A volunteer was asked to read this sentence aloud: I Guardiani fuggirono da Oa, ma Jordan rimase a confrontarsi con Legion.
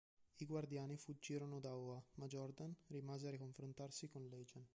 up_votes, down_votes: 1, 2